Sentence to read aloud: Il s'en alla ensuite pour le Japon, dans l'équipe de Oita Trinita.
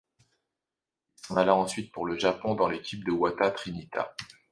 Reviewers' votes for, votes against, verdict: 2, 0, accepted